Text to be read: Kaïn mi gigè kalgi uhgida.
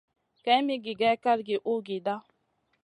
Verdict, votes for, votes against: accepted, 2, 0